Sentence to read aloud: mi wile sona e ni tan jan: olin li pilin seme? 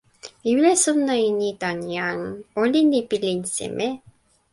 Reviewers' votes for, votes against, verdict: 2, 0, accepted